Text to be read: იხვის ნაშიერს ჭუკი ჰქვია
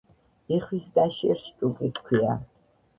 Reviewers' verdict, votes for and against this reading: rejected, 0, 2